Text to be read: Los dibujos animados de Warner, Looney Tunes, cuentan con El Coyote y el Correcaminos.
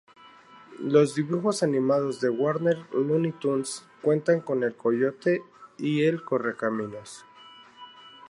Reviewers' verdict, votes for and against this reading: accepted, 2, 0